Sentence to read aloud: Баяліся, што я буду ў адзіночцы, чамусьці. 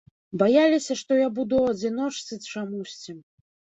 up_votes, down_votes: 2, 0